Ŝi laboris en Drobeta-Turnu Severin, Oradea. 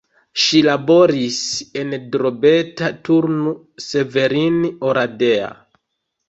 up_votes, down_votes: 0, 2